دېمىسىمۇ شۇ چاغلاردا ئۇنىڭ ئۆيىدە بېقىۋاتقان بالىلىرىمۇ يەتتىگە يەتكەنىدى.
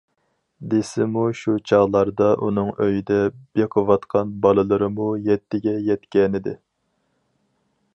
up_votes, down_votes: 0, 4